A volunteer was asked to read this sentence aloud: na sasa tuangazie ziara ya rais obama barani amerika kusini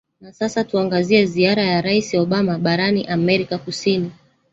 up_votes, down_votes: 1, 2